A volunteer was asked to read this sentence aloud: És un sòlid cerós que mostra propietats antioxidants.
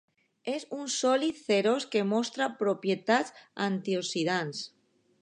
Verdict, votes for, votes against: rejected, 0, 2